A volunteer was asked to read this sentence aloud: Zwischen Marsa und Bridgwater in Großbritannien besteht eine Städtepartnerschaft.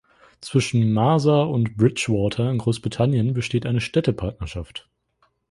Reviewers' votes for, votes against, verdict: 3, 1, accepted